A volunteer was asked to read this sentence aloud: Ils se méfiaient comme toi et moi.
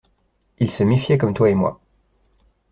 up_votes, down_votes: 2, 0